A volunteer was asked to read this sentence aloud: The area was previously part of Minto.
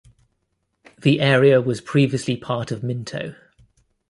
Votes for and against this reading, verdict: 2, 0, accepted